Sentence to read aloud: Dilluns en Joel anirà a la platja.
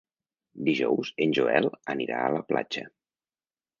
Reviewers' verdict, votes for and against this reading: rejected, 1, 2